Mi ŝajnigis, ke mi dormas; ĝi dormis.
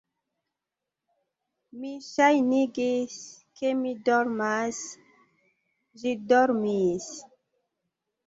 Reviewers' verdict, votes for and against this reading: accepted, 2, 0